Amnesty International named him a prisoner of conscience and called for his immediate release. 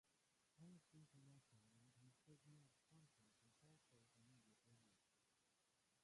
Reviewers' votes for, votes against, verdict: 0, 2, rejected